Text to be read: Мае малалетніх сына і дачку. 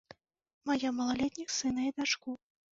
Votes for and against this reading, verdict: 2, 1, accepted